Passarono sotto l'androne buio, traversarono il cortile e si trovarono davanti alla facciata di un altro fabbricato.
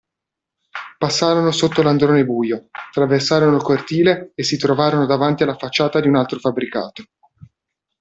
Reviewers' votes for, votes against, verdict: 2, 0, accepted